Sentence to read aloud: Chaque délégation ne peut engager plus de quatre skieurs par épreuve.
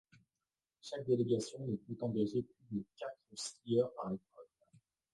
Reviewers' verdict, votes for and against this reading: rejected, 1, 2